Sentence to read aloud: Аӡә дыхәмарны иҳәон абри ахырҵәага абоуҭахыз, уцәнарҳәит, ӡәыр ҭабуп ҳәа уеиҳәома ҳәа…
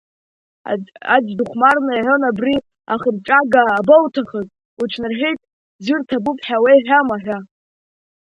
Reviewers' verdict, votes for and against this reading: accepted, 2, 0